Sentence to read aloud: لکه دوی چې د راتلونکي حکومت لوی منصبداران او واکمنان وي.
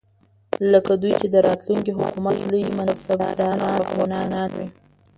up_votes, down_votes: 0, 2